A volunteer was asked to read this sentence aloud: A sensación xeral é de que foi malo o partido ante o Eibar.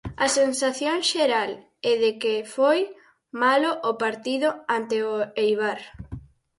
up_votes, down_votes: 2, 2